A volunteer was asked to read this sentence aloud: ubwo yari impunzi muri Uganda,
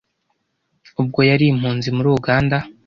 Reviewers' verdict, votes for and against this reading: accepted, 2, 0